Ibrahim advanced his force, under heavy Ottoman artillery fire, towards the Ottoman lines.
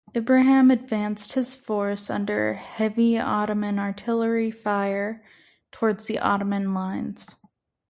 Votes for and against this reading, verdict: 4, 0, accepted